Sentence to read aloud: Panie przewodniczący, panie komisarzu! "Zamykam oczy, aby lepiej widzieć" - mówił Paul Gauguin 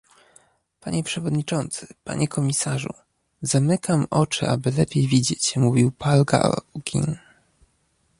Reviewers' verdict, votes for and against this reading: accepted, 2, 1